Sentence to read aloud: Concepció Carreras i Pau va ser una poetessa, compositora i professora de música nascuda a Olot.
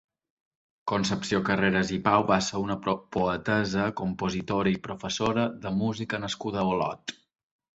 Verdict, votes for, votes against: rejected, 1, 2